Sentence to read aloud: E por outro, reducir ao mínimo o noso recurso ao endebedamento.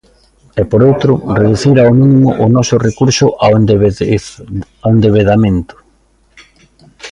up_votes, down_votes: 0, 2